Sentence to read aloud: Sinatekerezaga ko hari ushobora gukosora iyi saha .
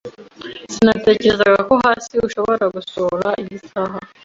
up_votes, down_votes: 1, 2